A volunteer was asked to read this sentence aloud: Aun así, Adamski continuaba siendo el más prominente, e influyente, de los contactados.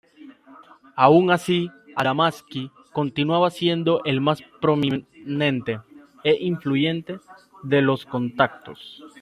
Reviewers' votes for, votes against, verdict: 1, 2, rejected